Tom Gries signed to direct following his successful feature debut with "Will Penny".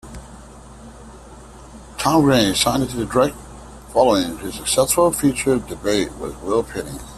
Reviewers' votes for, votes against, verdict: 1, 2, rejected